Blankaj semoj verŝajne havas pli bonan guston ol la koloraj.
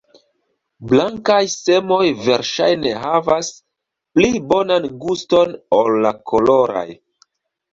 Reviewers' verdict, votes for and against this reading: accepted, 2, 0